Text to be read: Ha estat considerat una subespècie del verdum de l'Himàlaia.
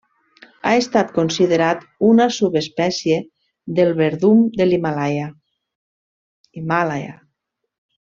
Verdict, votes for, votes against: rejected, 1, 2